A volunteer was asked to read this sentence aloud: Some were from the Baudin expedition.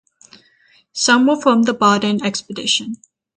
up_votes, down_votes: 3, 0